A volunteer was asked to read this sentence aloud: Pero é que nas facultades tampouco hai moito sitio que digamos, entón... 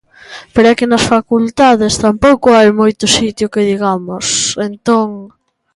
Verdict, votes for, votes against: accepted, 2, 0